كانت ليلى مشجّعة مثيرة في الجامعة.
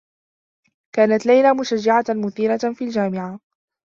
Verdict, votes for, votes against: accepted, 2, 0